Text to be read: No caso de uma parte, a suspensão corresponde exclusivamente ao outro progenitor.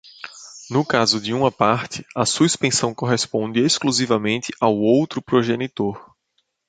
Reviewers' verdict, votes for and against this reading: accepted, 2, 0